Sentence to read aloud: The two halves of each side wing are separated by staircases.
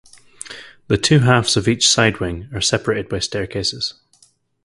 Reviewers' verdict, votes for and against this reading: accepted, 4, 0